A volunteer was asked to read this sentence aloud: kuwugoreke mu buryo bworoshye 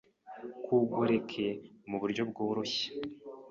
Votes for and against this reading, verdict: 1, 2, rejected